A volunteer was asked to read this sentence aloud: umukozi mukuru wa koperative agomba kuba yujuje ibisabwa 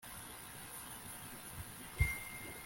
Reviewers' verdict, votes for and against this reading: rejected, 0, 2